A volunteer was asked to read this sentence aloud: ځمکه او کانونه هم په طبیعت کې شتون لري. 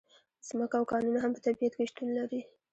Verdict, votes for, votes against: accepted, 2, 0